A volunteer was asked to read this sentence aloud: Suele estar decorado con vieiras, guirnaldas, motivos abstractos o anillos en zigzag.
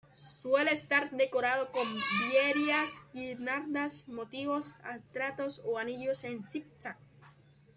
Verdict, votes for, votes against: rejected, 1, 2